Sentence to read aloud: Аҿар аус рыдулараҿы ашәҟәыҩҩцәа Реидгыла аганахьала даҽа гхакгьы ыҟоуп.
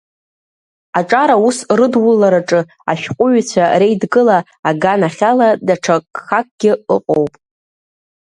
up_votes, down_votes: 2, 0